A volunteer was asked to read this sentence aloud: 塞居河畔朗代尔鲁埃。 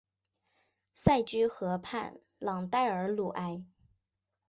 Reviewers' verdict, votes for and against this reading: accepted, 2, 0